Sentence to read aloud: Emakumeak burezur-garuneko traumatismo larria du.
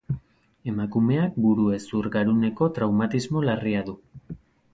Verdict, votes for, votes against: accepted, 2, 0